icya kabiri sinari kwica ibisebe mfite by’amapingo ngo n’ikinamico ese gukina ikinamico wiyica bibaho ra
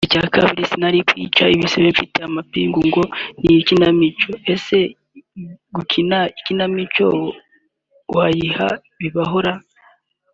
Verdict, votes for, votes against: rejected, 0, 2